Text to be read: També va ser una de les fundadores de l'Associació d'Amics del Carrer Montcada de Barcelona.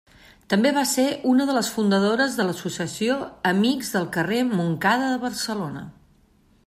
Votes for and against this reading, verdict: 1, 2, rejected